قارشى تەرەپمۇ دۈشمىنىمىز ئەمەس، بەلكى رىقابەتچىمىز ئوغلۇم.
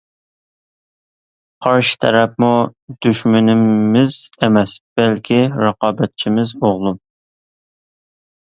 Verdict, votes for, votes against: accepted, 2, 0